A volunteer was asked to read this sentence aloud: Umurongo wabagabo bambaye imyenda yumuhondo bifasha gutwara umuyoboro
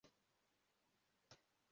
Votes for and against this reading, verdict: 0, 2, rejected